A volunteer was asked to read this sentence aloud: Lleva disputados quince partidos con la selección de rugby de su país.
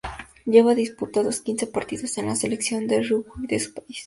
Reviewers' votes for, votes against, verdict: 2, 0, accepted